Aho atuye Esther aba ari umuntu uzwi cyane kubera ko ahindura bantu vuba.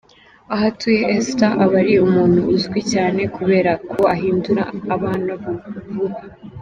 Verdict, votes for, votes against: accepted, 2, 0